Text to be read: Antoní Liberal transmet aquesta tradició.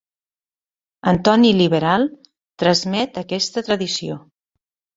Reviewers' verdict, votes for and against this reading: accepted, 3, 0